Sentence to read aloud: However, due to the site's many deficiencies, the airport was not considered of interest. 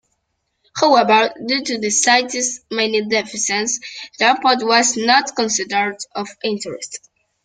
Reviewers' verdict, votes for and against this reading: rejected, 1, 2